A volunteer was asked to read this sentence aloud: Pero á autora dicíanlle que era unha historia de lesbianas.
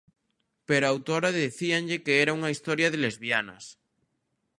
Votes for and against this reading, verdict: 0, 2, rejected